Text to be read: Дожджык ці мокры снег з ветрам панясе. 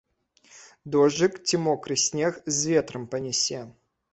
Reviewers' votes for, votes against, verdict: 2, 0, accepted